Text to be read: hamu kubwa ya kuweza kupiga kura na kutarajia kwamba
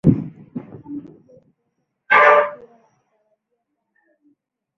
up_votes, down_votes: 0, 2